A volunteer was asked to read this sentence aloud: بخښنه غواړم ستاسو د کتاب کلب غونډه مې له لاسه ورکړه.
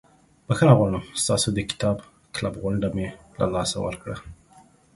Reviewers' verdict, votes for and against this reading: accepted, 2, 0